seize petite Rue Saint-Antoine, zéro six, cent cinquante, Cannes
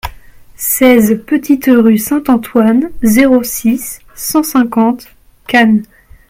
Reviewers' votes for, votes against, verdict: 2, 0, accepted